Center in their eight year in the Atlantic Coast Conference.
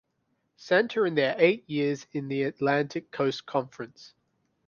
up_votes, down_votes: 0, 2